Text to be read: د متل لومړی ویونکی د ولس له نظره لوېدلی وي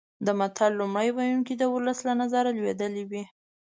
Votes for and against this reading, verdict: 2, 0, accepted